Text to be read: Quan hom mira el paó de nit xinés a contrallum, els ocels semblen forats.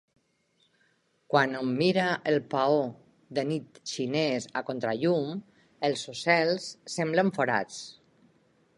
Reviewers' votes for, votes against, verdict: 3, 0, accepted